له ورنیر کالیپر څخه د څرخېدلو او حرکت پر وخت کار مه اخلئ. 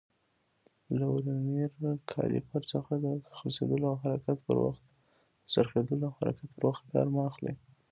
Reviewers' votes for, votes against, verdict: 0, 2, rejected